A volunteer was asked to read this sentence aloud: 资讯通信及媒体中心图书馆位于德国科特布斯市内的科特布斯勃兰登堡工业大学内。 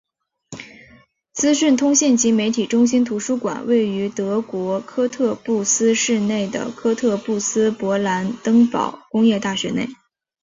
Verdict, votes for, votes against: accepted, 2, 0